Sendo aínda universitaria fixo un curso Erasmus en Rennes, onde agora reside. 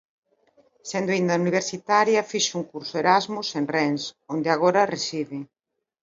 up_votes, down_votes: 2, 0